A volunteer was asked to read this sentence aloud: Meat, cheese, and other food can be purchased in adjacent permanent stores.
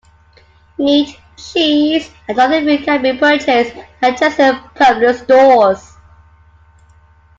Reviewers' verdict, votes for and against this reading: rejected, 0, 2